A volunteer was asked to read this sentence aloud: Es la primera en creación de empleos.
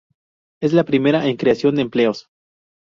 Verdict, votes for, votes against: accepted, 2, 0